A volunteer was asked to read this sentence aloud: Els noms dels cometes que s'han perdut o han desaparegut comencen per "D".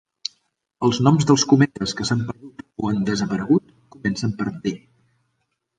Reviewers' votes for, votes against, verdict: 0, 3, rejected